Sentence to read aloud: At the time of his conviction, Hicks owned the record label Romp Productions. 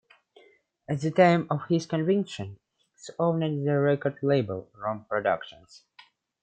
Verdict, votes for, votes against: accepted, 2, 1